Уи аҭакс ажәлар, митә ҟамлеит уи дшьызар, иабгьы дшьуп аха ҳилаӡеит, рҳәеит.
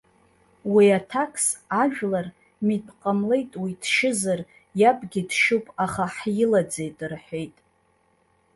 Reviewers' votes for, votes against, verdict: 0, 2, rejected